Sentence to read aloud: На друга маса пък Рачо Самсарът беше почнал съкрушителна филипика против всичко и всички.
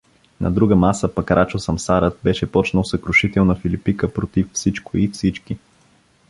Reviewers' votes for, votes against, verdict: 2, 0, accepted